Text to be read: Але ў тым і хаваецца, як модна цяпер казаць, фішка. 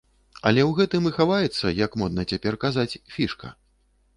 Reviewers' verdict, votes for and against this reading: rejected, 1, 2